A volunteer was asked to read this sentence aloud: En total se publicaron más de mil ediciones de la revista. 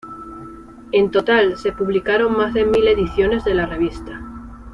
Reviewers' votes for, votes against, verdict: 2, 0, accepted